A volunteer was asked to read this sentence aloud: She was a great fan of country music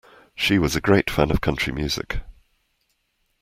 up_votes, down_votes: 2, 0